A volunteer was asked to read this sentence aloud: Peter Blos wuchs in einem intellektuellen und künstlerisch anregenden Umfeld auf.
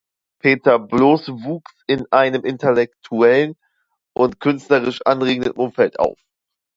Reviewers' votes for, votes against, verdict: 2, 0, accepted